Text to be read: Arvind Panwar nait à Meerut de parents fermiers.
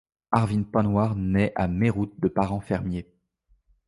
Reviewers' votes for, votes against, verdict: 2, 0, accepted